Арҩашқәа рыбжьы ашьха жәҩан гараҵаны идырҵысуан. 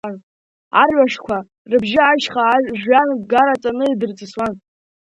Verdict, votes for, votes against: accepted, 2, 1